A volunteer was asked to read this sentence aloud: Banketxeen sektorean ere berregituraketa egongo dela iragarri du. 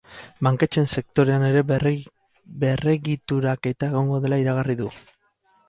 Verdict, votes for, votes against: rejected, 0, 6